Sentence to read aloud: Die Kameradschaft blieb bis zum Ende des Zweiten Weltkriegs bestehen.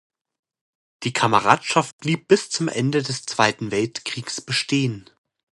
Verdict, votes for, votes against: accepted, 2, 0